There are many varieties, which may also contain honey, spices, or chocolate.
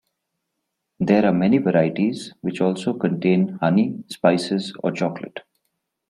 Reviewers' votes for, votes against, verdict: 1, 2, rejected